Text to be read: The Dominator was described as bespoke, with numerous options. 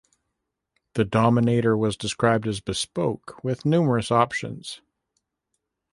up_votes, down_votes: 2, 0